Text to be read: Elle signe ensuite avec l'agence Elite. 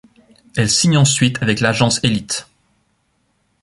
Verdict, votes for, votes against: accepted, 2, 0